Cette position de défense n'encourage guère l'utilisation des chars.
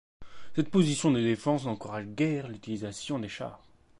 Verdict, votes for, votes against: accepted, 2, 0